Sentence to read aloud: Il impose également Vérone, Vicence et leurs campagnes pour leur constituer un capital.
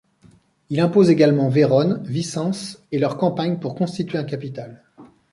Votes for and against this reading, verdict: 0, 2, rejected